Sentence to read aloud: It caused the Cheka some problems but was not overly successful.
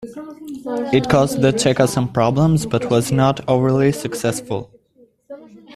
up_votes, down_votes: 2, 1